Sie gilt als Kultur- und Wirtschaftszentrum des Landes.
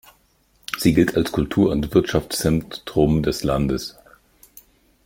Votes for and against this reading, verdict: 1, 2, rejected